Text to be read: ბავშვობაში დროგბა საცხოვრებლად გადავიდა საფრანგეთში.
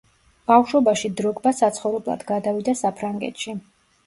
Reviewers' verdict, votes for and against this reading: accepted, 2, 0